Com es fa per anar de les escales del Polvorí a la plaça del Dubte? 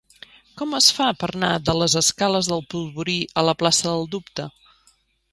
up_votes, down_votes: 0, 2